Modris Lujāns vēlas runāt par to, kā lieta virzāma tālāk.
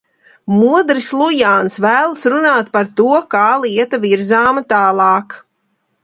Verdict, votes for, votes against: accepted, 2, 0